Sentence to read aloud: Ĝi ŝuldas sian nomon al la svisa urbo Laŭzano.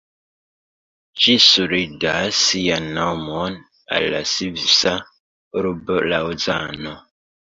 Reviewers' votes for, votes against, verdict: 0, 2, rejected